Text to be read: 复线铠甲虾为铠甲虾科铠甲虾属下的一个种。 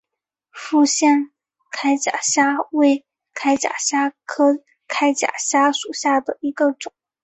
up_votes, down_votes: 0, 2